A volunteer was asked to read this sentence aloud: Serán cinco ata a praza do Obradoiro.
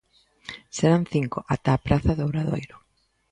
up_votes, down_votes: 2, 0